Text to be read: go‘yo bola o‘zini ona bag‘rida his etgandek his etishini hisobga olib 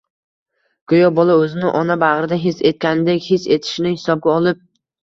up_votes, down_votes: 0, 2